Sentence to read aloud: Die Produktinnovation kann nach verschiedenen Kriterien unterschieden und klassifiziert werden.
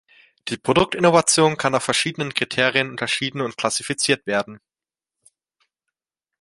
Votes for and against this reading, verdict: 2, 0, accepted